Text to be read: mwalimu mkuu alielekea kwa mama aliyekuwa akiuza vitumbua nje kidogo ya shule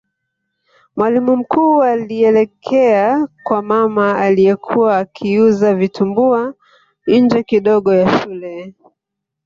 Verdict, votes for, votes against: accepted, 3, 0